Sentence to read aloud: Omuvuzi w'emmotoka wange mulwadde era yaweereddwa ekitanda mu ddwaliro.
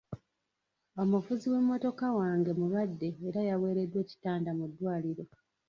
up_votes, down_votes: 1, 2